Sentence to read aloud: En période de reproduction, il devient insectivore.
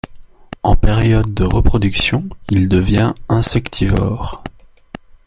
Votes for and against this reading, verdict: 2, 0, accepted